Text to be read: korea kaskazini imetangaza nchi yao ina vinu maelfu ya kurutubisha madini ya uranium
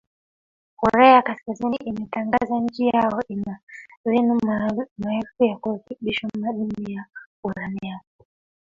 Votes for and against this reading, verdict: 3, 2, accepted